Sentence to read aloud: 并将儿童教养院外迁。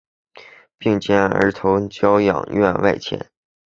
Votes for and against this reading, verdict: 2, 0, accepted